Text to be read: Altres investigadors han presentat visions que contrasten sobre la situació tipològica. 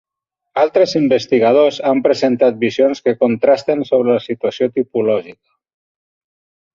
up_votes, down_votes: 3, 0